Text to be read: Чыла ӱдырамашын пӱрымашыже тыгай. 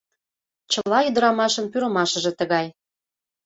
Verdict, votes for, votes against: accepted, 2, 0